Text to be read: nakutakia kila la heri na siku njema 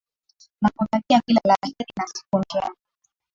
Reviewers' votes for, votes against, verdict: 0, 2, rejected